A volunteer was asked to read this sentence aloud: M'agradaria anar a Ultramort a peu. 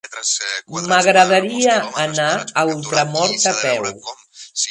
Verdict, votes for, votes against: rejected, 1, 3